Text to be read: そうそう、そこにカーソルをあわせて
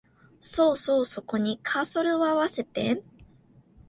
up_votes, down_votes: 2, 3